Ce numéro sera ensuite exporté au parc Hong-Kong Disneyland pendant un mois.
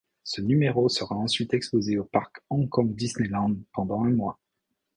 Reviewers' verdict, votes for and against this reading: rejected, 1, 2